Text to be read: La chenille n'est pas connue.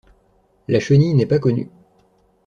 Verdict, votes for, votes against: accepted, 2, 0